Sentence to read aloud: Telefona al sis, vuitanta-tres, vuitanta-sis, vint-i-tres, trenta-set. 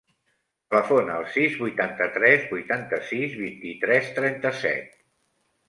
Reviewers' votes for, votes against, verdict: 0, 2, rejected